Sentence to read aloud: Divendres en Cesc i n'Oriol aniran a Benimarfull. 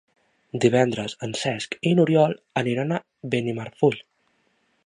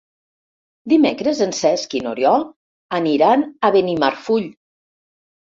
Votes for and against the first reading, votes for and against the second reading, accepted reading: 7, 0, 0, 2, first